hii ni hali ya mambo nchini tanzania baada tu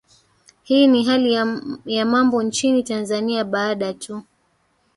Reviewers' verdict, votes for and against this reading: rejected, 2, 3